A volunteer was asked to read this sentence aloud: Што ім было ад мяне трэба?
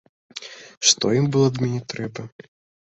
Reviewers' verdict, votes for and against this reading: accepted, 2, 0